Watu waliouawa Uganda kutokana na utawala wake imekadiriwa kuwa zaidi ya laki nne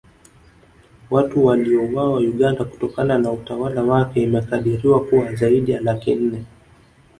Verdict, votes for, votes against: accepted, 2, 0